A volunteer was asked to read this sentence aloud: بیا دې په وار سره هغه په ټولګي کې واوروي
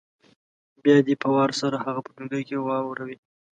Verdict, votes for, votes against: accepted, 2, 0